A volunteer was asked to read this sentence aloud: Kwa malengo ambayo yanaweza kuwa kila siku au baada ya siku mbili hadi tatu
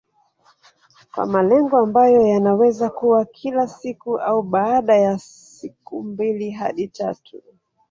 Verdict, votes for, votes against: accepted, 2, 1